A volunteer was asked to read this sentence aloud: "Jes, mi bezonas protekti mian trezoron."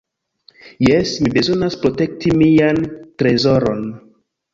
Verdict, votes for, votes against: accepted, 2, 0